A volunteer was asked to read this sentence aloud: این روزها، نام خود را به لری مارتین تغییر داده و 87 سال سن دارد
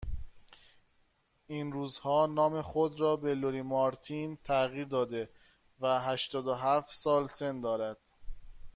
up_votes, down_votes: 0, 2